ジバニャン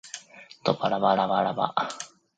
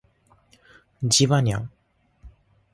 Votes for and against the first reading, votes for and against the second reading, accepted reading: 1, 2, 2, 0, second